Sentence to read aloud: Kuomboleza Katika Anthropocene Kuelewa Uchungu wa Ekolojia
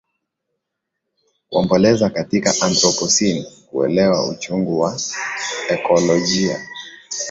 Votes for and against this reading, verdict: 5, 1, accepted